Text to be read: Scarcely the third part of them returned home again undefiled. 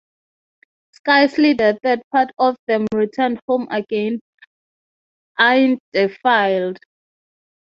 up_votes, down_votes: 3, 6